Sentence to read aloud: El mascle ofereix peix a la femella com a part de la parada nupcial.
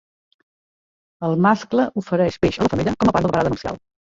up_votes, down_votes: 1, 2